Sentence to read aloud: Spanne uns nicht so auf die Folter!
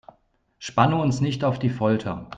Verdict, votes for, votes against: rejected, 0, 2